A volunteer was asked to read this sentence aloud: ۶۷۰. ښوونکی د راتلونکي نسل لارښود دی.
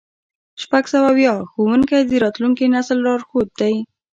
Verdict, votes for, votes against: rejected, 0, 2